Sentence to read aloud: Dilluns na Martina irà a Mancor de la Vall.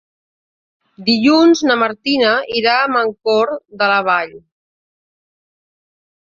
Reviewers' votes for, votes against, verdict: 2, 0, accepted